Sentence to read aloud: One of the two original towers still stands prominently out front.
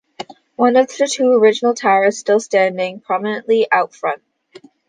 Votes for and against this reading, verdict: 1, 2, rejected